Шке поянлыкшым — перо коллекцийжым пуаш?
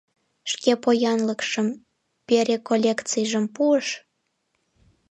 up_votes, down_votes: 0, 2